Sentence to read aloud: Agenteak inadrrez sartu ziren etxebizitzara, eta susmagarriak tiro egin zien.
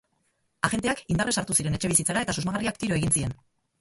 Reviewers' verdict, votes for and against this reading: rejected, 0, 2